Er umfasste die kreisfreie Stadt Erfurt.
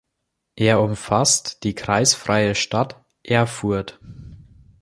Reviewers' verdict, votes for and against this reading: rejected, 0, 2